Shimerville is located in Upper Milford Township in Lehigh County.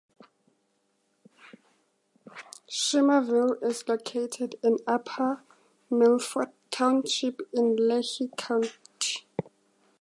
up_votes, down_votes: 2, 0